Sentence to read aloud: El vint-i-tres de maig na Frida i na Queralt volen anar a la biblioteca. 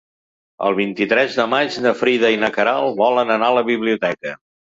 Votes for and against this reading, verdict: 3, 0, accepted